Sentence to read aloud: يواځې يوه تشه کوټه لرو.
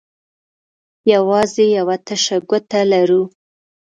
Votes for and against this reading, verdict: 1, 2, rejected